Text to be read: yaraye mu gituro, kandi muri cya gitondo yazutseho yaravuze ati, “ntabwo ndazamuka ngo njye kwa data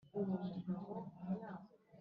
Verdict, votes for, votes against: rejected, 0, 2